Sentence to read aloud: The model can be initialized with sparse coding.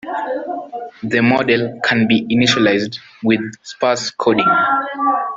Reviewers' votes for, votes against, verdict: 2, 0, accepted